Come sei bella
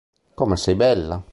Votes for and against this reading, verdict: 2, 0, accepted